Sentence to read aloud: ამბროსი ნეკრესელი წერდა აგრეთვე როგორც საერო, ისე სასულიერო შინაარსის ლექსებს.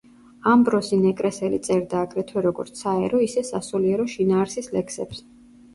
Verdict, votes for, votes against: accepted, 2, 0